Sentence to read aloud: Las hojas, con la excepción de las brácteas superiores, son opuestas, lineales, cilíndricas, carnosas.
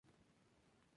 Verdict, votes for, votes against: rejected, 0, 2